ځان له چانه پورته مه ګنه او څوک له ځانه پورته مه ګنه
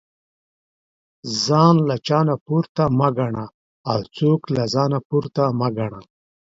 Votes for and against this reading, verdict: 2, 0, accepted